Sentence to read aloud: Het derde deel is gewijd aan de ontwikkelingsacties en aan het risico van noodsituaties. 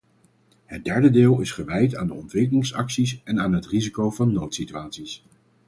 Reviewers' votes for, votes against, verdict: 2, 2, rejected